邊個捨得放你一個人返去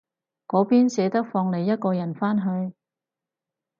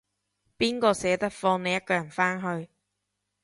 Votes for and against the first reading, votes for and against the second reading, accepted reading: 2, 4, 2, 0, second